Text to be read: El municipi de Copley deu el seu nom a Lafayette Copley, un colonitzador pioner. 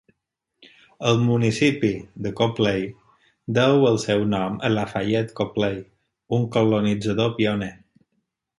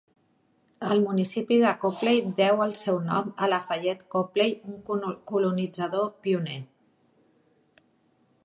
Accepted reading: first